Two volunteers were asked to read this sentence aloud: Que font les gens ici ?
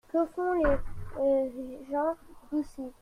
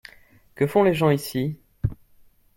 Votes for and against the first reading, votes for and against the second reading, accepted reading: 1, 2, 2, 0, second